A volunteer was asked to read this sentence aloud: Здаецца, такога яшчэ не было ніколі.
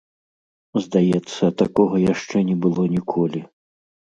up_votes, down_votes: 2, 0